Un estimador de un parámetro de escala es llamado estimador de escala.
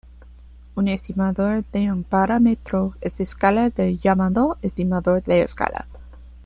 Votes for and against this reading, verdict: 1, 2, rejected